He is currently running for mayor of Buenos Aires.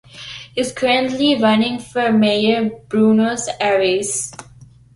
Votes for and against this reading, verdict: 0, 2, rejected